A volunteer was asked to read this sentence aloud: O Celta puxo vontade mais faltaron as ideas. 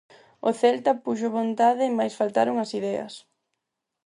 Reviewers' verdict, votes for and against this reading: accepted, 4, 0